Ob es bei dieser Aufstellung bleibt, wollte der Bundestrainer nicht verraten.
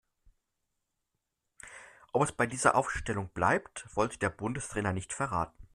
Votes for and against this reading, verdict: 2, 0, accepted